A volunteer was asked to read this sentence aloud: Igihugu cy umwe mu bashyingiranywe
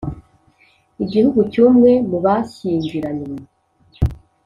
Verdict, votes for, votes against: accepted, 2, 0